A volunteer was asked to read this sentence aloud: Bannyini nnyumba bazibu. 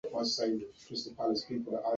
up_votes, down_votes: 1, 2